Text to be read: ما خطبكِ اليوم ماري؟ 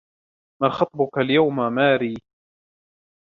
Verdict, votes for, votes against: rejected, 1, 2